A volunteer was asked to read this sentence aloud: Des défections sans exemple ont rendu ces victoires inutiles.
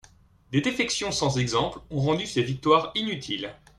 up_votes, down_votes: 2, 0